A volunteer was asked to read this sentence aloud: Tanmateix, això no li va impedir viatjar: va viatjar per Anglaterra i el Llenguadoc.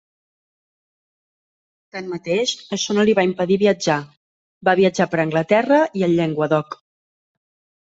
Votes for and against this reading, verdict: 3, 0, accepted